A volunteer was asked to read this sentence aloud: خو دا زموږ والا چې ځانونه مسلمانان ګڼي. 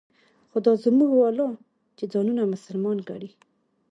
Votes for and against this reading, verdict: 2, 0, accepted